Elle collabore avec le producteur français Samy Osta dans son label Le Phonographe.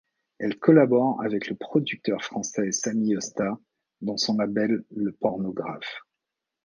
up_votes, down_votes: 1, 2